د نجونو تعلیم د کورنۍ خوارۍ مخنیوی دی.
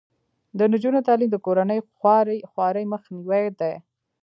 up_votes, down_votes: 1, 2